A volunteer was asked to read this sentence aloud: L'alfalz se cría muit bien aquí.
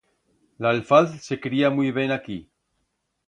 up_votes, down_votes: 1, 2